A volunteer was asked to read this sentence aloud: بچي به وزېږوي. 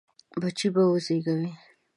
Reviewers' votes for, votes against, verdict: 2, 0, accepted